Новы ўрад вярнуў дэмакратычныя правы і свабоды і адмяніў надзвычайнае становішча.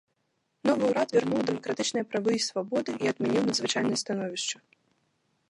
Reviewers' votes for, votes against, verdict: 1, 2, rejected